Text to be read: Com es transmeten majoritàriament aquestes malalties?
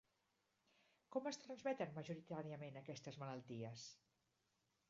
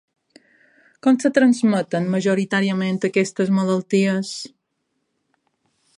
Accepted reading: first